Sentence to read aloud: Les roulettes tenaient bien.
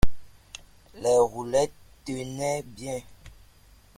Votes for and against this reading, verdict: 2, 1, accepted